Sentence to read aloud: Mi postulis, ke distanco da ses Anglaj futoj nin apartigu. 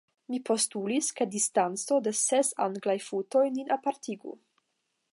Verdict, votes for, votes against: accepted, 5, 0